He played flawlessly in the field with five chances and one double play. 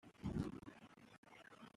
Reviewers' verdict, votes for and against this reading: rejected, 0, 2